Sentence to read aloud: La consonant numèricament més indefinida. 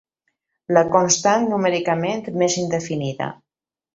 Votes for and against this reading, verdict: 0, 2, rejected